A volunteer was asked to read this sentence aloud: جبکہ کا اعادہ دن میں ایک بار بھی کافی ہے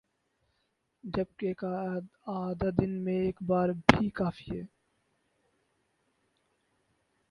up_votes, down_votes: 4, 0